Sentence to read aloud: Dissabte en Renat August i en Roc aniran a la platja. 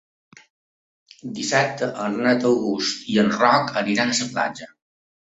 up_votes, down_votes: 2, 1